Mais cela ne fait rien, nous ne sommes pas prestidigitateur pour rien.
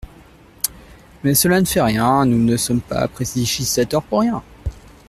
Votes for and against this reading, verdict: 0, 2, rejected